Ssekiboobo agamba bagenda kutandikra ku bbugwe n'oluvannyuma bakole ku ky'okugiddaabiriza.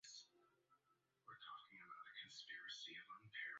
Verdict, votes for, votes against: rejected, 0, 2